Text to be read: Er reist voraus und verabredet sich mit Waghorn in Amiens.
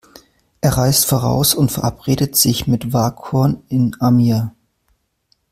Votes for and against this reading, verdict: 0, 2, rejected